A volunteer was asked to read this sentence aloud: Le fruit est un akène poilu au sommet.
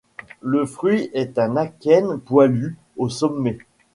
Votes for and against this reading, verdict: 2, 0, accepted